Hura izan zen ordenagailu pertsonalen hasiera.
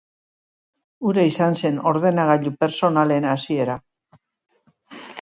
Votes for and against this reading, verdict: 3, 0, accepted